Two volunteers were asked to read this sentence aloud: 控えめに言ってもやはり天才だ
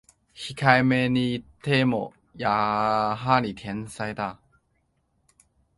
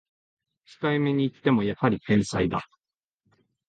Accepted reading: second